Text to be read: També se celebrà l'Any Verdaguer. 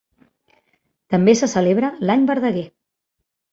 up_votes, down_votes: 0, 2